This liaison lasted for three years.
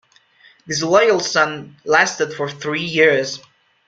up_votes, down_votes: 1, 2